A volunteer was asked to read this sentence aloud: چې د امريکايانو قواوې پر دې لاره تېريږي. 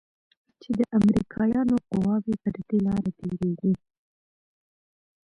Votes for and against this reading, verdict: 2, 0, accepted